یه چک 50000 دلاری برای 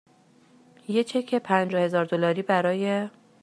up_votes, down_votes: 0, 2